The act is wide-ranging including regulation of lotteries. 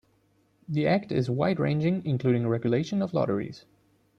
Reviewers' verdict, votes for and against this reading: accepted, 2, 0